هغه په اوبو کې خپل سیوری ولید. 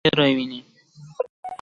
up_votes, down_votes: 0, 2